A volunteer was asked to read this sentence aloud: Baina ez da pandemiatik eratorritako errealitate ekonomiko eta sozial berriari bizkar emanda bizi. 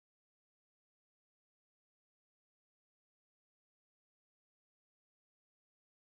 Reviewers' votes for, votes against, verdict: 0, 3, rejected